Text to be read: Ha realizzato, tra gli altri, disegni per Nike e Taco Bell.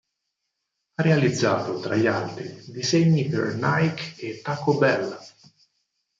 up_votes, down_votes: 4, 0